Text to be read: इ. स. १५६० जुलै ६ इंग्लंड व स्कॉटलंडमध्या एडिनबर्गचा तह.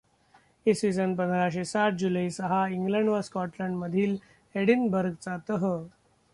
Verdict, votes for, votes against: rejected, 0, 2